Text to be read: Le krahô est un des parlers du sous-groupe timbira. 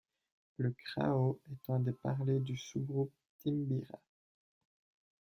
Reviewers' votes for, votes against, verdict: 1, 2, rejected